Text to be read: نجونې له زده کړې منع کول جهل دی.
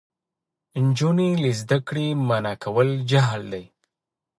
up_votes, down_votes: 1, 2